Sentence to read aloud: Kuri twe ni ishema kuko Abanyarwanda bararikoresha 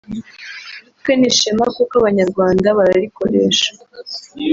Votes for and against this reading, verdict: 0, 2, rejected